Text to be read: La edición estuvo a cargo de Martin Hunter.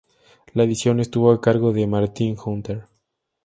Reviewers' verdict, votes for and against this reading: accepted, 2, 0